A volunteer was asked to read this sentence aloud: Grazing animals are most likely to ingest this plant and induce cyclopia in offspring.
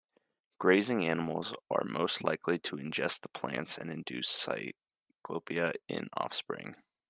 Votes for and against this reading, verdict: 1, 2, rejected